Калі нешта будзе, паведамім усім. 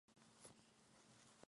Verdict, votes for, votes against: rejected, 0, 2